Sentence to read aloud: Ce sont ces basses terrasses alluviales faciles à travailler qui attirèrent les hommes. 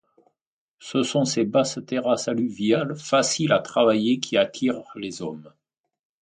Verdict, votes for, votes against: rejected, 1, 2